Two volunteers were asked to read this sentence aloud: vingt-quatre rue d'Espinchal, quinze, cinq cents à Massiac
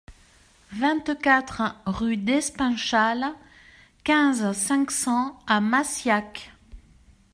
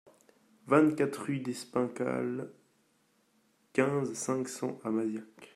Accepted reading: first